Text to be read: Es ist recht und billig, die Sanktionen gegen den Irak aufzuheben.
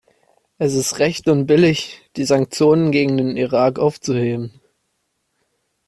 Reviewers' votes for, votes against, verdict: 2, 0, accepted